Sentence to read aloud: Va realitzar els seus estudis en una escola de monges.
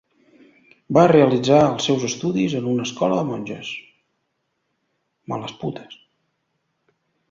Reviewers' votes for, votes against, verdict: 1, 2, rejected